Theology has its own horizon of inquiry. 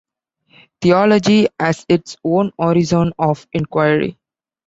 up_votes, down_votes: 2, 0